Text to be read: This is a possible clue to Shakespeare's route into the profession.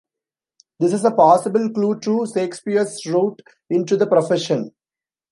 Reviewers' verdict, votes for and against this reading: rejected, 0, 2